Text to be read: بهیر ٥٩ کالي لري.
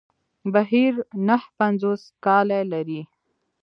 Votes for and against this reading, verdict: 0, 2, rejected